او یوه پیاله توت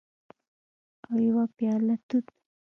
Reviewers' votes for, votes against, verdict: 2, 0, accepted